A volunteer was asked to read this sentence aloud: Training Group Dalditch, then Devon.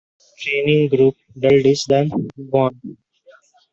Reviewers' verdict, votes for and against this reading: rejected, 1, 2